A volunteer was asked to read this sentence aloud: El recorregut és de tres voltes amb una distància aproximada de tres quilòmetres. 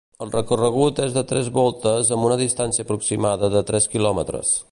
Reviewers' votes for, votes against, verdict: 2, 0, accepted